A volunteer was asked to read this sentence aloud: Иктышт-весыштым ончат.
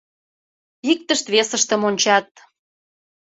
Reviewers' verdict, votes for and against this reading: accepted, 2, 0